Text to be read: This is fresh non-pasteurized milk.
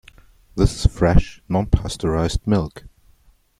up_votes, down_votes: 0, 2